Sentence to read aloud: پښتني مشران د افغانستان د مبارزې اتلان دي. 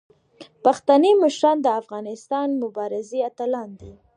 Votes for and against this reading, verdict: 2, 1, accepted